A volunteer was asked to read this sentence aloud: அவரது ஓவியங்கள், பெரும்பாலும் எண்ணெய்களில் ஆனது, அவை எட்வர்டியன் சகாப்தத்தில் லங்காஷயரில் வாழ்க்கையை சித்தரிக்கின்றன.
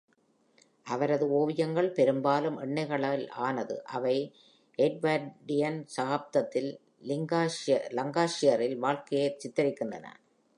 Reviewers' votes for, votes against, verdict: 0, 2, rejected